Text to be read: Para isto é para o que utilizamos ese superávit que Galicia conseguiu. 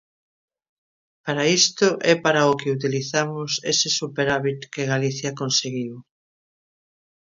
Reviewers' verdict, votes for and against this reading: accepted, 2, 0